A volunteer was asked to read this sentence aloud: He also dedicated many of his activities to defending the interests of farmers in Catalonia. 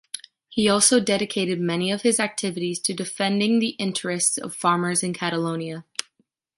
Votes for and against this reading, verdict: 3, 1, accepted